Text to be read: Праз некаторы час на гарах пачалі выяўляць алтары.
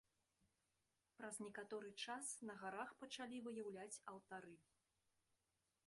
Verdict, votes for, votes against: rejected, 0, 2